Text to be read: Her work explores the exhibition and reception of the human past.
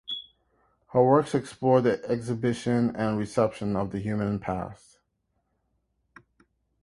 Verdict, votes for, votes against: rejected, 0, 2